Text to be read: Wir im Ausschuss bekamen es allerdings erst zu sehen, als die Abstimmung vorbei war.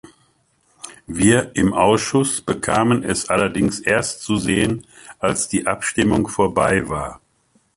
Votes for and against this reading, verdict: 2, 0, accepted